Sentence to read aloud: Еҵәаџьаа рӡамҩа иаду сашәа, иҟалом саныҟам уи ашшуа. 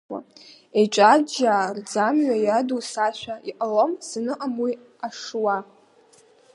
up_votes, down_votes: 1, 2